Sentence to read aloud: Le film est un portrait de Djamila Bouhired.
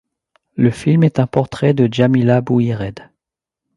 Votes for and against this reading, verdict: 2, 0, accepted